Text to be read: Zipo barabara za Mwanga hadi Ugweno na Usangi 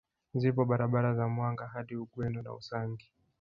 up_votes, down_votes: 1, 2